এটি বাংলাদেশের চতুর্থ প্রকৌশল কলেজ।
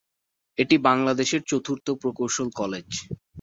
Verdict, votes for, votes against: accepted, 3, 0